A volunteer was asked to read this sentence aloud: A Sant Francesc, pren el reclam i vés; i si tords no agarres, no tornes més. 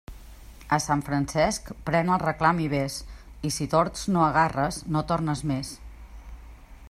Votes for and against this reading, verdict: 2, 0, accepted